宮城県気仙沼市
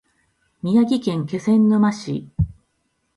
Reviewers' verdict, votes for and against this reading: accepted, 2, 0